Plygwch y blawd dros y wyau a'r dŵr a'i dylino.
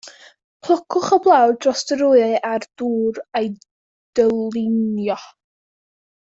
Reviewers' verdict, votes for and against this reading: rejected, 0, 2